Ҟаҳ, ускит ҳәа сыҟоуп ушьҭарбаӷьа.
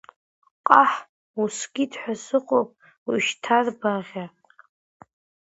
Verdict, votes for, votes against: rejected, 0, 2